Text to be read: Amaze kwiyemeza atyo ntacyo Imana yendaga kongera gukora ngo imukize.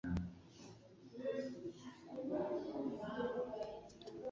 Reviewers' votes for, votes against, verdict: 1, 2, rejected